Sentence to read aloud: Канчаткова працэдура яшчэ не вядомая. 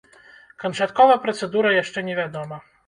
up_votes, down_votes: 0, 2